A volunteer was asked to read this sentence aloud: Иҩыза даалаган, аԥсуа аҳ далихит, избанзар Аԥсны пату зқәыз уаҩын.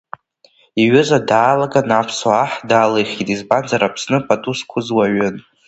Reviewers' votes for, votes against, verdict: 2, 0, accepted